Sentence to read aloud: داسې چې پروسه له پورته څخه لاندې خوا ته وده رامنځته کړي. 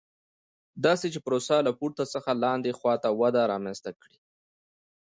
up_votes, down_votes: 2, 0